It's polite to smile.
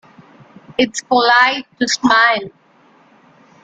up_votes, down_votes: 2, 0